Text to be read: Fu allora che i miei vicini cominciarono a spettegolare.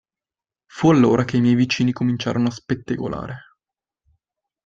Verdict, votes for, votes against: accepted, 2, 0